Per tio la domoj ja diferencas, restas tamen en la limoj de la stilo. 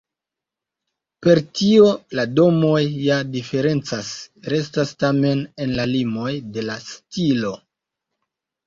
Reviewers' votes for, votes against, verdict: 2, 1, accepted